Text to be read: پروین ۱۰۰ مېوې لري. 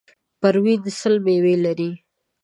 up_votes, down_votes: 0, 2